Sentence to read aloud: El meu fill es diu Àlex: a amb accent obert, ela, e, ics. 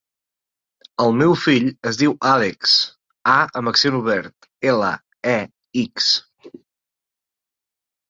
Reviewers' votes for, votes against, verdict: 4, 0, accepted